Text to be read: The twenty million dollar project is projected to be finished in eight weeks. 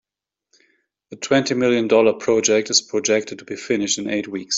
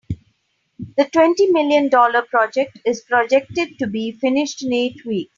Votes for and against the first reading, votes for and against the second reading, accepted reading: 2, 0, 0, 2, first